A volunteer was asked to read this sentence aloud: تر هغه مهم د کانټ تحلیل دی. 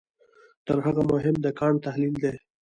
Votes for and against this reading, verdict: 2, 1, accepted